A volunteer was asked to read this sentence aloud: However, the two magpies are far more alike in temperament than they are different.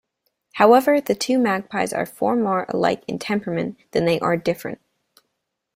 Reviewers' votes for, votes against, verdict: 2, 0, accepted